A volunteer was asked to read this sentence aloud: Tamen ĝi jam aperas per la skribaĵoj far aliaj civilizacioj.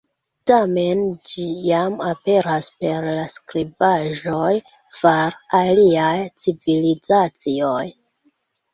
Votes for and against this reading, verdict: 1, 2, rejected